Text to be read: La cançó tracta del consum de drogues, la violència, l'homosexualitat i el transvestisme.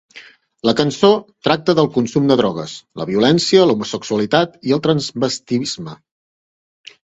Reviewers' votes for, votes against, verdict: 0, 2, rejected